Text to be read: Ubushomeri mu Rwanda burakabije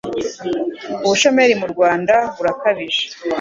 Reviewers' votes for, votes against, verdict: 2, 0, accepted